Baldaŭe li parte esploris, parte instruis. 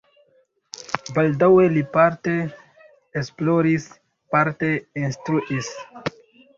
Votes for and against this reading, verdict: 2, 0, accepted